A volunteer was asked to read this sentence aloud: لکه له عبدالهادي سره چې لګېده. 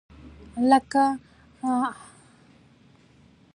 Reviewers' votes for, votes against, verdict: 2, 1, accepted